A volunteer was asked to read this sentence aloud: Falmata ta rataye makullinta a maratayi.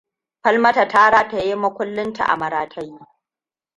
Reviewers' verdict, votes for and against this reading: rejected, 0, 2